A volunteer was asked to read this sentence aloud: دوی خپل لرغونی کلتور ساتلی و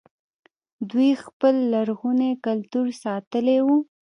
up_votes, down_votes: 1, 2